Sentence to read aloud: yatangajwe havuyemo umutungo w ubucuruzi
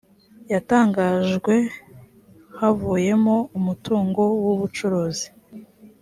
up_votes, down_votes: 2, 0